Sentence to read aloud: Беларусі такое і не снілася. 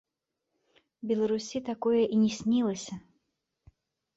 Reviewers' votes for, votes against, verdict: 1, 2, rejected